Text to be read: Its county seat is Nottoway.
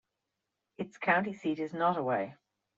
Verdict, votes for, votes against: accepted, 2, 1